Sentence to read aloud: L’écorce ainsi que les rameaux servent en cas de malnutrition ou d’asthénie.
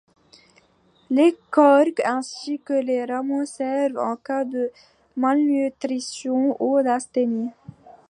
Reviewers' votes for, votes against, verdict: 0, 2, rejected